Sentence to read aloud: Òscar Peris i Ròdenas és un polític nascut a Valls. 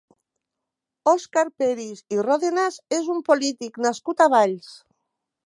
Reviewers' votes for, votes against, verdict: 2, 0, accepted